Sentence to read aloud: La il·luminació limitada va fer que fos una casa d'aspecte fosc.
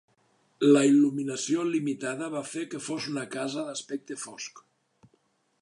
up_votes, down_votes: 2, 0